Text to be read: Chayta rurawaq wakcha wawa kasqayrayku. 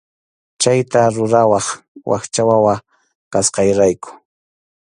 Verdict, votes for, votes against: accepted, 2, 0